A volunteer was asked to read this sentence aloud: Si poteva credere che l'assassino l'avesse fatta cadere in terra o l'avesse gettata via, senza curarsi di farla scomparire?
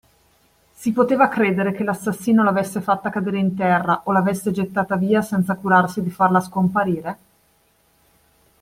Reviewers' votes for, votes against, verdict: 2, 0, accepted